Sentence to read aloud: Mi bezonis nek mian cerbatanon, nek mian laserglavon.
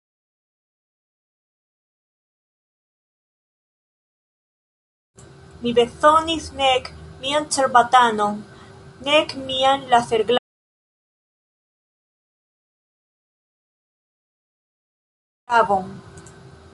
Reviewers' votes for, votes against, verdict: 0, 2, rejected